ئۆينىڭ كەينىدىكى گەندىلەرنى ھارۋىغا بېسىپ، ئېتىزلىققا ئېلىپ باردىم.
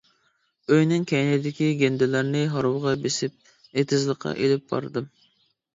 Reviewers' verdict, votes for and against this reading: accepted, 2, 0